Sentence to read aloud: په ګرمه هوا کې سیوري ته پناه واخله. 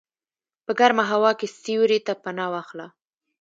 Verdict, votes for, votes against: accepted, 2, 1